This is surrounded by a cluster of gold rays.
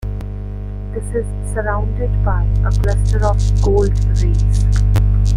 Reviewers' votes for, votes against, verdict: 2, 1, accepted